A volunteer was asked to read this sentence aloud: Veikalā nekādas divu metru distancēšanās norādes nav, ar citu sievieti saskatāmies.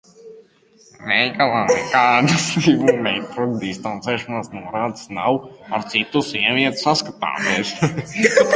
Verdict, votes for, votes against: rejected, 0, 2